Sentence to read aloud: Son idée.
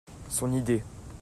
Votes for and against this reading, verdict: 2, 1, accepted